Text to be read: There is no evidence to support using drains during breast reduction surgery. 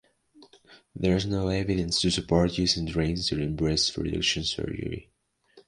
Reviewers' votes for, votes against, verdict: 2, 1, accepted